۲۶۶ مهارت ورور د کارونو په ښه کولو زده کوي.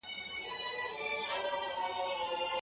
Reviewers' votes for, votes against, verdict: 0, 2, rejected